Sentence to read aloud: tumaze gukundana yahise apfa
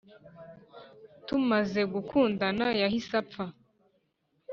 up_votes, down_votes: 3, 0